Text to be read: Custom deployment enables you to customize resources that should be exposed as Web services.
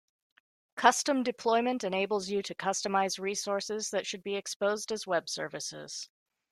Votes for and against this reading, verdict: 2, 0, accepted